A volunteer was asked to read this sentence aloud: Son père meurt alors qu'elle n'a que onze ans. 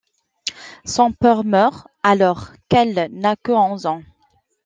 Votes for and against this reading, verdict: 2, 1, accepted